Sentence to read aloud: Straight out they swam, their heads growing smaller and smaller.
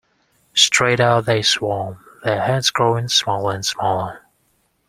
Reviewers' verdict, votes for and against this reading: rejected, 0, 2